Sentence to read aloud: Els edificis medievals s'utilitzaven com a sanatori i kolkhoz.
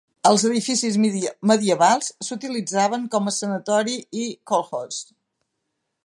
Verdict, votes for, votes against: rejected, 0, 2